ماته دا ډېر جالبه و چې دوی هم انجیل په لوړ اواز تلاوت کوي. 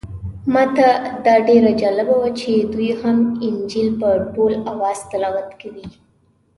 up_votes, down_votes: 1, 2